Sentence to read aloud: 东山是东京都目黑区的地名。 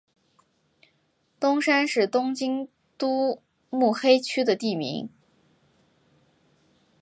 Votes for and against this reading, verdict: 2, 0, accepted